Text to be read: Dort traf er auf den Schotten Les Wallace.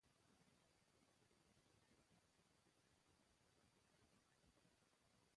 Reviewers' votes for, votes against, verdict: 0, 2, rejected